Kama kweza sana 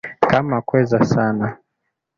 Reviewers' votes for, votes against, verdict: 2, 0, accepted